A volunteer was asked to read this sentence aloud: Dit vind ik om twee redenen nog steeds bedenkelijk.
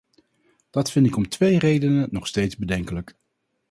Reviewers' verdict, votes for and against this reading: rejected, 0, 4